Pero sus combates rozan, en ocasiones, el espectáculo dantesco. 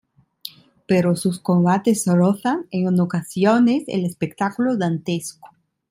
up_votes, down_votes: 0, 2